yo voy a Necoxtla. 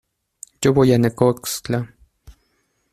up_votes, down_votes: 2, 0